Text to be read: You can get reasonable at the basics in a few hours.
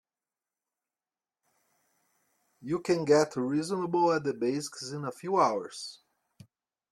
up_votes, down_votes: 2, 0